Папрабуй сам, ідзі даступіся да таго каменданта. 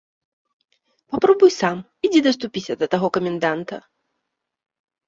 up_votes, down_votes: 2, 0